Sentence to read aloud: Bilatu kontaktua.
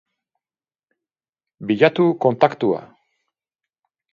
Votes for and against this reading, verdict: 4, 0, accepted